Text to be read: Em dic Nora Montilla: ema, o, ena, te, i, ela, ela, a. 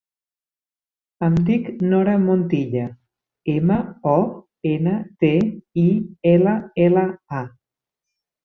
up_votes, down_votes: 3, 0